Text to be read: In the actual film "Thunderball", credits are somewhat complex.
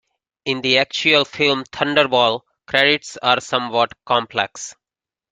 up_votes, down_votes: 2, 0